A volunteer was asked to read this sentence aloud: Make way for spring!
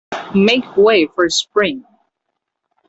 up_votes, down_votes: 2, 0